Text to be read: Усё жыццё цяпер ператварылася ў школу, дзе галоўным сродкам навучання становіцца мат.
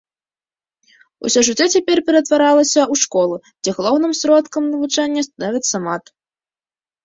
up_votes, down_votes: 0, 2